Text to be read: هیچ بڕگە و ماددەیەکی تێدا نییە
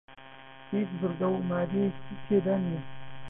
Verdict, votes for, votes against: rejected, 2, 4